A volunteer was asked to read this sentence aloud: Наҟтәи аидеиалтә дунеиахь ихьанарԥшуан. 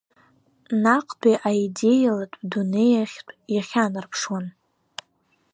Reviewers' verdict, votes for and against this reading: rejected, 1, 3